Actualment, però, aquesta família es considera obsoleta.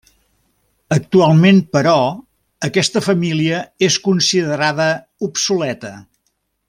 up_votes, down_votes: 1, 2